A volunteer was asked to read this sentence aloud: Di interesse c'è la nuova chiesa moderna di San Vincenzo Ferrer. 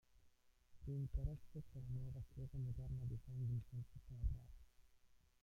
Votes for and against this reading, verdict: 0, 2, rejected